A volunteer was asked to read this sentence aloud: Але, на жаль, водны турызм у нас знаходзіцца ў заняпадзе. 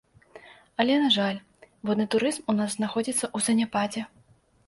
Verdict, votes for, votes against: rejected, 1, 2